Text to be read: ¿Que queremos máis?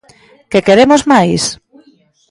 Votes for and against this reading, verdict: 1, 2, rejected